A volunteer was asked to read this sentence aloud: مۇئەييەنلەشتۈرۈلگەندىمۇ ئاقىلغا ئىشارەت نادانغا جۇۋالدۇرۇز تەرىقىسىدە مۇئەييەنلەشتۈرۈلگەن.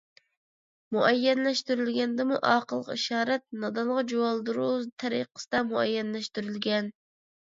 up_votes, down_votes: 2, 0